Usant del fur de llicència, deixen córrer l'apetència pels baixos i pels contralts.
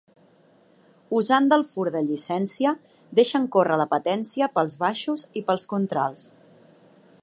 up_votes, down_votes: 2, 0